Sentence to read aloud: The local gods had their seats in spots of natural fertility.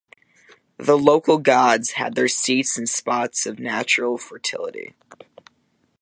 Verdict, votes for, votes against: accepted, 2, 0